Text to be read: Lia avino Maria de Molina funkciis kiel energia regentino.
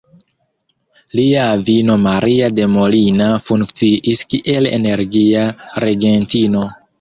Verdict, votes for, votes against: accepted, 2, 1